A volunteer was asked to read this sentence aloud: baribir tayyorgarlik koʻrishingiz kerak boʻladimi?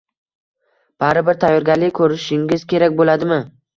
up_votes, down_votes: 0, 2